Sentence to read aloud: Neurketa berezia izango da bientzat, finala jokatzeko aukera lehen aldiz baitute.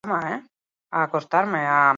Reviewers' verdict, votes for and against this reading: rejected, 0, 4